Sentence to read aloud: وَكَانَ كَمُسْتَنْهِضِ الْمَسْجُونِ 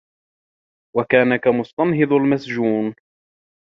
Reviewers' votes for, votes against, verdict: 1, 2, rejected